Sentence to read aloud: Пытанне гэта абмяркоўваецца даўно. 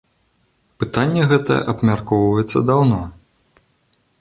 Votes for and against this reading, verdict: 2, 0, accepted